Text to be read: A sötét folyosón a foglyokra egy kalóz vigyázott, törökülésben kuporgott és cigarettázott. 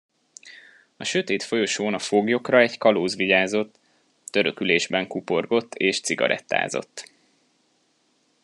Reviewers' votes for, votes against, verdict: 2, 0, accepted